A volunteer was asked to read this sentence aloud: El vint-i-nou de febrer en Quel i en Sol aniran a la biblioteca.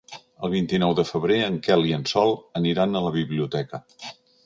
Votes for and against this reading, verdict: 3, 0, accepted